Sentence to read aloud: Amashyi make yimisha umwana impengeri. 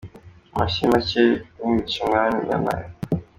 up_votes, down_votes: 0, 2